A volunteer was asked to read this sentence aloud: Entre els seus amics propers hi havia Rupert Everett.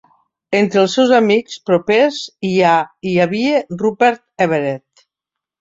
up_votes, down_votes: 0, 2